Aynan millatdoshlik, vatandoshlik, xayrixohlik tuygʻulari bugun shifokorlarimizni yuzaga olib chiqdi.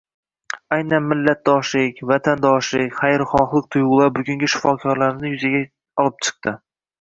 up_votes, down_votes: 1, 2